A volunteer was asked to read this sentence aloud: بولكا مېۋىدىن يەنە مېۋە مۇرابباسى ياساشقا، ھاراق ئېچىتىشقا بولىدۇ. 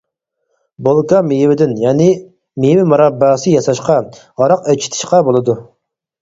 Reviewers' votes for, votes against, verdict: 0, 4, rejected